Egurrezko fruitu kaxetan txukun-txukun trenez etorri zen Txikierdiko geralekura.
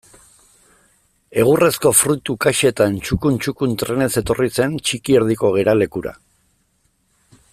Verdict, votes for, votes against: accepted, 2, 0